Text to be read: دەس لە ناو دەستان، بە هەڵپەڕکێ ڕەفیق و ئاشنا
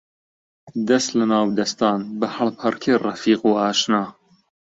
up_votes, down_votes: 2, 0